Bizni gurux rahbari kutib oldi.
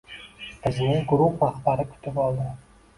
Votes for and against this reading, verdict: 1, 2, rejected